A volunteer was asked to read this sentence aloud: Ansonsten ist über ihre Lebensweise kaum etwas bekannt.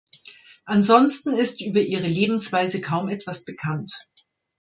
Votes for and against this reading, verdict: 2, 0, accepted